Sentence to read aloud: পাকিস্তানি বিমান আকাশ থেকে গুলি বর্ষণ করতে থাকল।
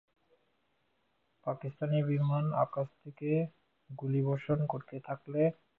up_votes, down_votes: 1, 5